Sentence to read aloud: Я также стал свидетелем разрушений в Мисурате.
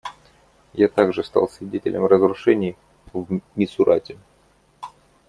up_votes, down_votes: 0, 2